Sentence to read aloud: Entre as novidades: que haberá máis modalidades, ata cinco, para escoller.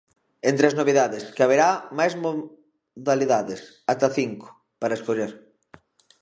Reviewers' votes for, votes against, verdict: 0, 2, rejected